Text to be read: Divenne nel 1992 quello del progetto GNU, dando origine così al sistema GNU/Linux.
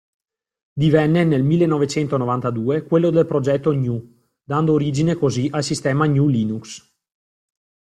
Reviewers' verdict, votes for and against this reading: rejected, 0, 2